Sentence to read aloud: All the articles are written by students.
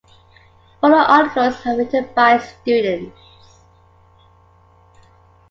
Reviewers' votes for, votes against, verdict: 1, 2, rejected